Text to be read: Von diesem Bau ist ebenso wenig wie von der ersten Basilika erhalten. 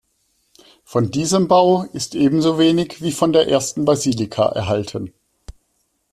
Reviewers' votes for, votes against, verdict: 2, 0, accepted